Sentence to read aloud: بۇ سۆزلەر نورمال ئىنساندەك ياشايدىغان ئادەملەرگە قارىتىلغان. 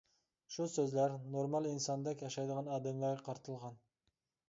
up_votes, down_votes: 2, 0